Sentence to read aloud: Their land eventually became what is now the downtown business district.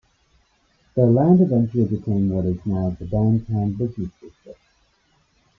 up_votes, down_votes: 0, 2